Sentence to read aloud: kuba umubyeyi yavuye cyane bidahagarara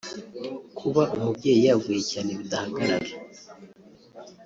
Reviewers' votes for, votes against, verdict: 1, 2, rejected